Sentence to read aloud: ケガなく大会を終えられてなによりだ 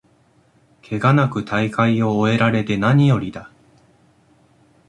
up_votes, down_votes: 2, 0